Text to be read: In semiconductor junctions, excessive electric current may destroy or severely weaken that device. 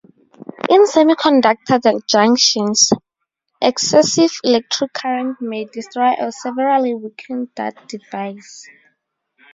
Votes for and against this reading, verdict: 0, 2, rejected